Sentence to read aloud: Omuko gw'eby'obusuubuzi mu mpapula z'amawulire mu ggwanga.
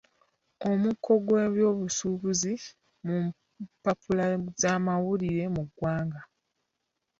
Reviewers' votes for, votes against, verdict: 1, 2, rejected